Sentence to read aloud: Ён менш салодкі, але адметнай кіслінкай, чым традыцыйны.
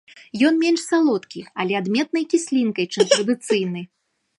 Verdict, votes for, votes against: rejected, 1, 2